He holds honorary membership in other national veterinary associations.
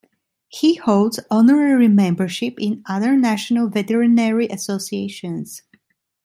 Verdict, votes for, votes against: accepted, 2, 0